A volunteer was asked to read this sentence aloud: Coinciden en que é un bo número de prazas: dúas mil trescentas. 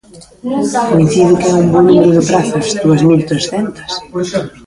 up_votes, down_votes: 0, 2